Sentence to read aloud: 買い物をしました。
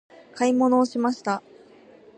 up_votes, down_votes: 2, 0